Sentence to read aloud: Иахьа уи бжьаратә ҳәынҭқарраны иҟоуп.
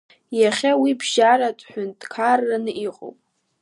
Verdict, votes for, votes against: accepted, 2, 0